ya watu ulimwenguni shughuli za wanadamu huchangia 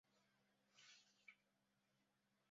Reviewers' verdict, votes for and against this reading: rejected, 0, 2